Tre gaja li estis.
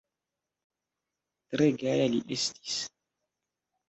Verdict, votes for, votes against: accepted, 2, 1